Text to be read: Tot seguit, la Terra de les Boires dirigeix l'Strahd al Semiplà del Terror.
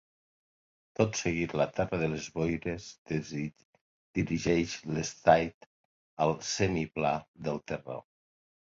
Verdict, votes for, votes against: rejected, 0, 2